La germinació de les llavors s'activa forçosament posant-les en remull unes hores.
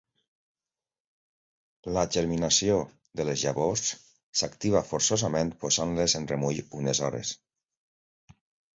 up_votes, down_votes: 2, 1